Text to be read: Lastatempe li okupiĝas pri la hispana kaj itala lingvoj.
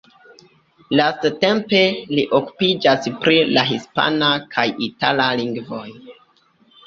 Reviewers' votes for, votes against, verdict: 2, 0, accepted